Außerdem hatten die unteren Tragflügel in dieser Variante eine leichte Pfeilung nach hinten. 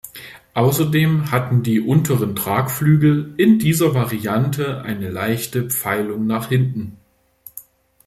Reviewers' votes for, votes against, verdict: 2, 0, accepted